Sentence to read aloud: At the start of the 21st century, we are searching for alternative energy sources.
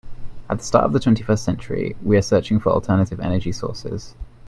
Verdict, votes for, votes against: rejected, 0, 2